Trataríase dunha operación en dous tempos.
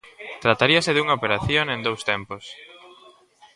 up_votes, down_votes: 1, 2